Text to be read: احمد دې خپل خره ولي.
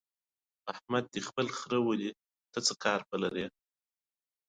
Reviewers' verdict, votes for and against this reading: accepted, 2, 1